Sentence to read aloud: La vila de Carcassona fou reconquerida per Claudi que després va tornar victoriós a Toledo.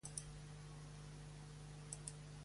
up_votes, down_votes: 0, 2